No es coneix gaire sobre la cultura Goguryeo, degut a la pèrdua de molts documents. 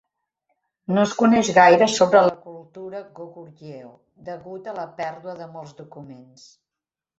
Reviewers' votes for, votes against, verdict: 1, 2, rejected